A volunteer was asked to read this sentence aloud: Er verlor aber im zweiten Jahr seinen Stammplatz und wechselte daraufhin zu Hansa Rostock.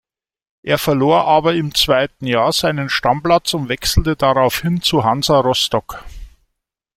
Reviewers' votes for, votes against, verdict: 2, 0, accepted